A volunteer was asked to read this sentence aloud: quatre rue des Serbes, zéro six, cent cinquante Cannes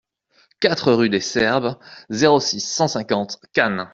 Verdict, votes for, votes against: accepted, 2, 0